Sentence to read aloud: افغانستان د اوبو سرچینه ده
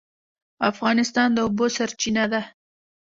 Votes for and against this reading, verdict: 2, 0, accepted